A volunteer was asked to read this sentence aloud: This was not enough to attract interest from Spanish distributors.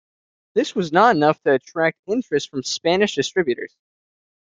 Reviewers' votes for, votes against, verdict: 2, 0, accepted